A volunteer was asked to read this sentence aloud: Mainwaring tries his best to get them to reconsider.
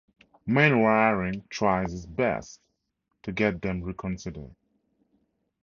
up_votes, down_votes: 0, 4